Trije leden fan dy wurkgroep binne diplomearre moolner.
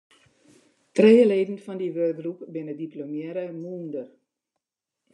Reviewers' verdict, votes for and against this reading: rejected, 0, 2